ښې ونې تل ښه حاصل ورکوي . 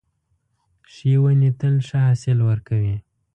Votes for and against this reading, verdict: 2, 0, accepted